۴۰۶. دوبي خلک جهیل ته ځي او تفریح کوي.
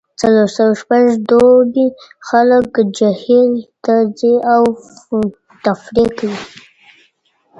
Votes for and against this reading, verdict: 0, 2, rejected